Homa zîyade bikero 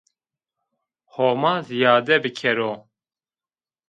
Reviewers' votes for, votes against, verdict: 1, 2, rejected